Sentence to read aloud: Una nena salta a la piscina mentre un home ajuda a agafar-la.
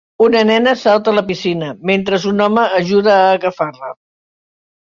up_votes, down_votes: 0, 2